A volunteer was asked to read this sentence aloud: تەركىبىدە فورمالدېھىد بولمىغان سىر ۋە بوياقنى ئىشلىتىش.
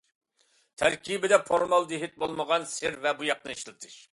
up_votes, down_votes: 2, 0